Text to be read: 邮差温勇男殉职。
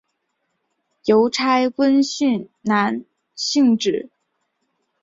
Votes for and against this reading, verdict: 0, 3, rejected